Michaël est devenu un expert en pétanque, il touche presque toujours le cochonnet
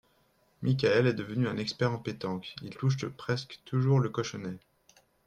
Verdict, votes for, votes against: accepted, 2, 0